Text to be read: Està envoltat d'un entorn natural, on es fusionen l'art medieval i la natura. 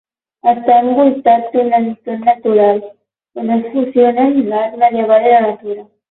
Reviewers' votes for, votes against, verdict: 6, 12, rejected